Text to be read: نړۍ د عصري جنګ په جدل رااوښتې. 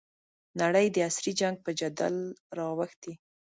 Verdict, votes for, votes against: accepted, 5, 0